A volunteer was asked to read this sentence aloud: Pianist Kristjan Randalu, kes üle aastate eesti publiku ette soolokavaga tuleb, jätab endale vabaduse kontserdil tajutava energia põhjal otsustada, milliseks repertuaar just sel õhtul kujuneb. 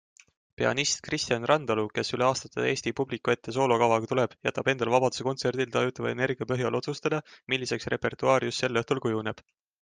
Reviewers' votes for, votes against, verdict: 2, 0, accepted